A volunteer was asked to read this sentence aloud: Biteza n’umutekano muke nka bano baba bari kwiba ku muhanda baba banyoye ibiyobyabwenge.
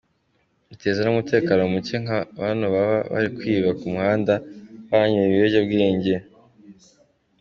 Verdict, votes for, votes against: accepted, 2, 0